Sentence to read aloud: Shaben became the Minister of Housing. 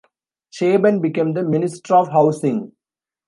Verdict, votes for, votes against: rejected, 1, 2